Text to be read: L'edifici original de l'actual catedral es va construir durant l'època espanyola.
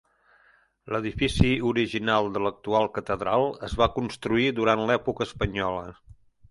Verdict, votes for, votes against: accepted, 3, 0